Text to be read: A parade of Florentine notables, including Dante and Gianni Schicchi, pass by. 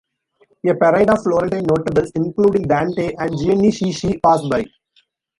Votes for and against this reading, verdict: 1, 2, rejected